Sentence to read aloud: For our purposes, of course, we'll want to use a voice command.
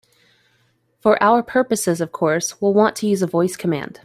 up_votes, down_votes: 2, 0